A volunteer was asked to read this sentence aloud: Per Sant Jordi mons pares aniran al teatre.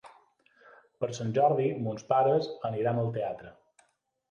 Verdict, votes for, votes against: accepted, 3, 0